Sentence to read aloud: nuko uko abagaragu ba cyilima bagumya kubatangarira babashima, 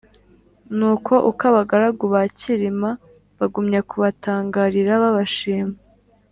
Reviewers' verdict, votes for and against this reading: accepted, 2, 0